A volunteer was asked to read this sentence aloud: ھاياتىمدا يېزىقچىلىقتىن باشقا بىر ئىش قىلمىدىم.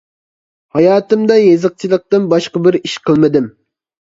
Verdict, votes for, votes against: accepted, 2, 0